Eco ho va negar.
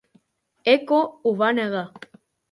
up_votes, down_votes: 3, 0